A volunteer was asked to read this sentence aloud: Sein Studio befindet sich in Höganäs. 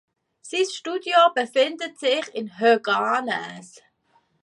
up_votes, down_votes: 1, 2